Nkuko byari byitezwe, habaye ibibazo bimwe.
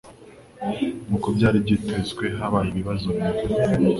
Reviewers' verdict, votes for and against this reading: accepted, 2, 0